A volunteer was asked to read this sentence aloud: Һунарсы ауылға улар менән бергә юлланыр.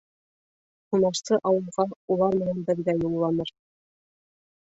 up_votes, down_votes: 1, 2